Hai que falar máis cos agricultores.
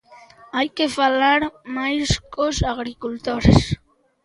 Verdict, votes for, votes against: accepted, 2, 0